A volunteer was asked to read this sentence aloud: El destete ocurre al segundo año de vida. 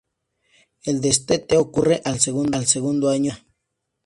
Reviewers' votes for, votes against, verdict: 0, 2, rejected